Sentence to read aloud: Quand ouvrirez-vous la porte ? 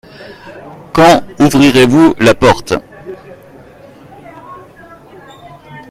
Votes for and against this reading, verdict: 2, 1, accepted